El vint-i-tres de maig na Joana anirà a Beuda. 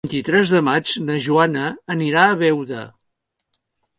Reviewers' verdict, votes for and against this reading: accepted, 2, 0